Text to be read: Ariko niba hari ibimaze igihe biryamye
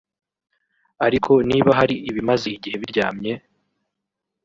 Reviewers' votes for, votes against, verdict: 3, 1, accepted